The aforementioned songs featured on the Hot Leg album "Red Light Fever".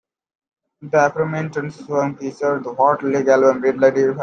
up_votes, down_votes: 0, 2